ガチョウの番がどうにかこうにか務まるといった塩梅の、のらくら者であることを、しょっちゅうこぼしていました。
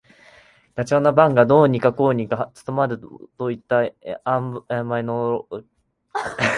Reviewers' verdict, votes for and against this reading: rejected, 3, 6